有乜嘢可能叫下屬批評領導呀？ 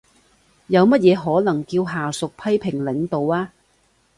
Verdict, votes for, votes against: accepted, 2, 0